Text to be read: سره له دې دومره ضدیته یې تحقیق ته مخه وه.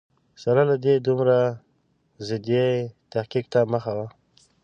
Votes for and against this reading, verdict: 0, 2, rejected